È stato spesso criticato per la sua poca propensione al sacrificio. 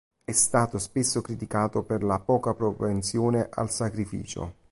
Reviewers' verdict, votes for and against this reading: rejected, 1, 3